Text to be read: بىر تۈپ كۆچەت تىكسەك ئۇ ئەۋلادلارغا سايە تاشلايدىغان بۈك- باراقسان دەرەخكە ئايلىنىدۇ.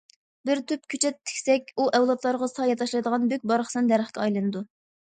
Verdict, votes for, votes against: accepted, 2, 0